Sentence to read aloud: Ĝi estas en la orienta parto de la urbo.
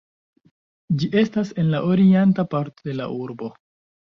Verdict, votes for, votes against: rejected, 1, 2